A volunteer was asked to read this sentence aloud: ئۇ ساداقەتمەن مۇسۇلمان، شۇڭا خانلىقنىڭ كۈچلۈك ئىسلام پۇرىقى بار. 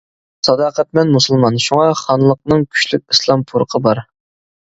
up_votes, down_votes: 1, 2